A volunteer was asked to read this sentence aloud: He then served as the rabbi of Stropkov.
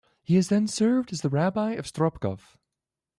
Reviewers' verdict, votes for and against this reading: accepted, 2, 1